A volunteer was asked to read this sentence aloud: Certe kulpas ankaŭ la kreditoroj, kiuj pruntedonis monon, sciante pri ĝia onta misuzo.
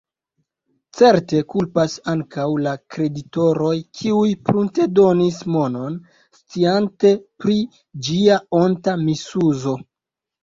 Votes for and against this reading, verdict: 3, 0, accepted